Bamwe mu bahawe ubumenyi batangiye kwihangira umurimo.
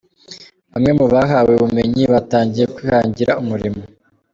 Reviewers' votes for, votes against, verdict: 2, 0, accepted